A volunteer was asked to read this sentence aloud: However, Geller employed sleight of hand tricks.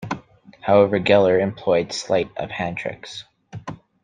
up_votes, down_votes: 2, 0